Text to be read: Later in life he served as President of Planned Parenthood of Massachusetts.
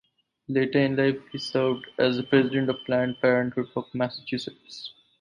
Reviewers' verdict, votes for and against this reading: accepted, 4, 0